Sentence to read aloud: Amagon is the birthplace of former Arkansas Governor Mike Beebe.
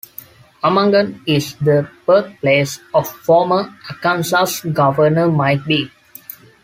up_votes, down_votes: 2, 0